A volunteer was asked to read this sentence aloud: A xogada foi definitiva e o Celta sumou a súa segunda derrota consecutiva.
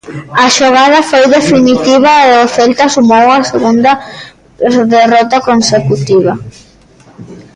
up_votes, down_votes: 0, 2